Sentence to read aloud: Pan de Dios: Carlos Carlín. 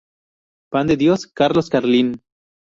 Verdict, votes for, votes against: rejected, 2, 2